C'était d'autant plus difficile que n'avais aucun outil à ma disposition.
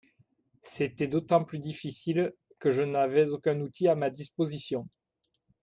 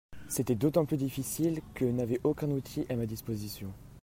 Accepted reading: second